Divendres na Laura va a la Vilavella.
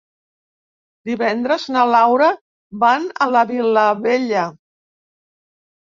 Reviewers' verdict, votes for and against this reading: rejected, 0, 3